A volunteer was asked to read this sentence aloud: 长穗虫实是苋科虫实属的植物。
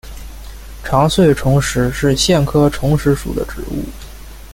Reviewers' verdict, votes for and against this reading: accepted, 2, 0